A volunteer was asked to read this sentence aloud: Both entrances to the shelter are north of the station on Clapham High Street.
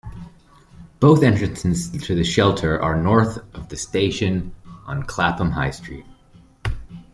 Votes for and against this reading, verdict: 2, 0, accepted